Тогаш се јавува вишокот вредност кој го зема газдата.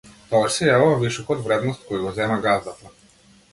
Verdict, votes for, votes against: accepted, 2, 0